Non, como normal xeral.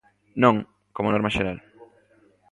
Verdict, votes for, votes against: accepted, 2, 0